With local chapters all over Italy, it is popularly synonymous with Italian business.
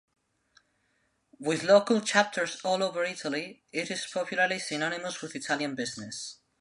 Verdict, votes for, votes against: accepted, 2, 0